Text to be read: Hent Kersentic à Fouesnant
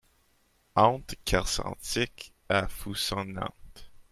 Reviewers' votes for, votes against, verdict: 0, 2, rejected